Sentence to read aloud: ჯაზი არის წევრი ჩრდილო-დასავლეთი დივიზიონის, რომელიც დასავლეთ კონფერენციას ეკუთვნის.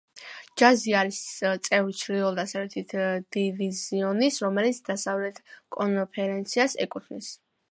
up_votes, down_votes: 2, 1